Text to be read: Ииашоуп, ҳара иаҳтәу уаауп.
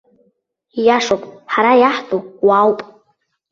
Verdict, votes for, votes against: rejected, 1, 2